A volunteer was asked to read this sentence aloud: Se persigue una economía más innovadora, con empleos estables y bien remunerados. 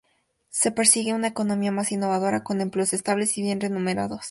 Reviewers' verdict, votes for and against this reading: accepted, 2, 0